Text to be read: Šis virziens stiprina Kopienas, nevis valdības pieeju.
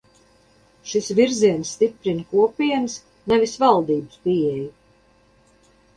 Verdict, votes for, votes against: accepted, 4, 0